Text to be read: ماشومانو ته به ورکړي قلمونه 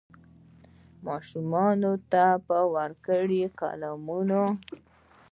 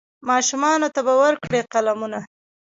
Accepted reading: first